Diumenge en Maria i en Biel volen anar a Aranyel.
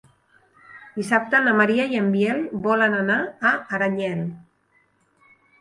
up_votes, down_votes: 0, 2